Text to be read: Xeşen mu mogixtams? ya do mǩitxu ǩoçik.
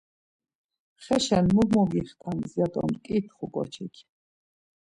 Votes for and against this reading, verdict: 2, 0, accepted